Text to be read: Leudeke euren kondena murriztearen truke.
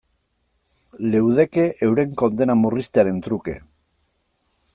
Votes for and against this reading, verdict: 2, 0, accepted